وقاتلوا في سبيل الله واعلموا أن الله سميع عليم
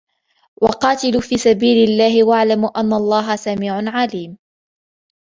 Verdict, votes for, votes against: rejected, 1, 2